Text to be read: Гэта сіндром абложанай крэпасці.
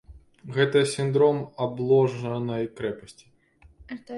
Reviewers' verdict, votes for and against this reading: rejected, 1, 2